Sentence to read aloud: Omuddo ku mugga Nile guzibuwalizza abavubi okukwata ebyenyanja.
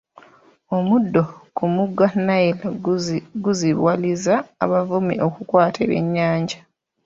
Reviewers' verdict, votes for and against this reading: rejected, 0, 2